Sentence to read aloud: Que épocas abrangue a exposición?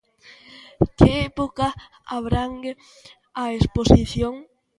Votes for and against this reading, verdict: 2, 0, accepted